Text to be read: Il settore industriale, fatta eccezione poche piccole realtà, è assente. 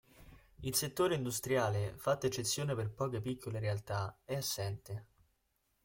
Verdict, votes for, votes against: rejected, 0, 2